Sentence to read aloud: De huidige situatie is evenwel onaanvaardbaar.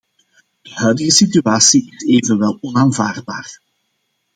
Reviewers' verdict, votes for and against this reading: accepted, 2, 0